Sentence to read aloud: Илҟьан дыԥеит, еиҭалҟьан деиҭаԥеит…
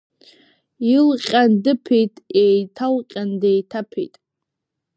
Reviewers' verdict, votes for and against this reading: accepted, 2, 0